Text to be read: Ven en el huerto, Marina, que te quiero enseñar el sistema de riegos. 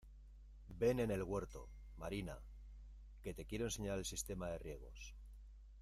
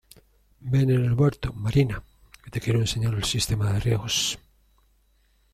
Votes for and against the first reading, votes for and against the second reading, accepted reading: 1, 2, 2, 0, second